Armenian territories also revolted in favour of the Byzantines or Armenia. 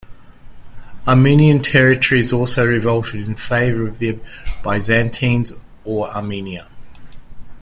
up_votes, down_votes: 2, 1